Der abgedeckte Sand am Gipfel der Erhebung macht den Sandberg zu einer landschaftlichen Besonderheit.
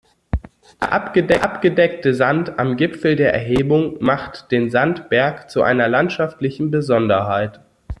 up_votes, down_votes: 0, 2